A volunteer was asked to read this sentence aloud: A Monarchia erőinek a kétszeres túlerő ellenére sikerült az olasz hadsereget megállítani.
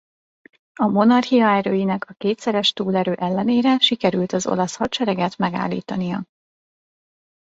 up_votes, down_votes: 0, 2